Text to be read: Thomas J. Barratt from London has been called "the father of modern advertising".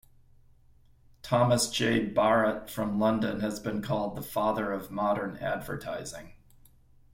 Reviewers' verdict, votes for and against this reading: accepted, 2, 0